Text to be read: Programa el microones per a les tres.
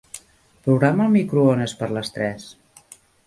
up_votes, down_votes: 0, 2